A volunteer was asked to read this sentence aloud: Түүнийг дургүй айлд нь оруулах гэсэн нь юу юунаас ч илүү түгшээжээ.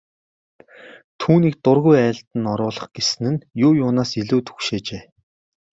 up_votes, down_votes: 2, 0